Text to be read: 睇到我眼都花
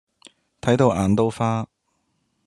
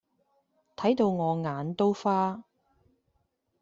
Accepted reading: second